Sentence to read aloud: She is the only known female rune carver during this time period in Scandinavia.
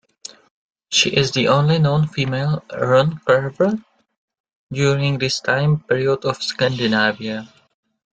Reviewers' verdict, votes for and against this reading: rejected, 0, 2